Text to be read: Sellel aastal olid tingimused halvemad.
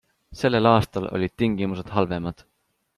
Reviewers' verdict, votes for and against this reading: accepted, 2, 0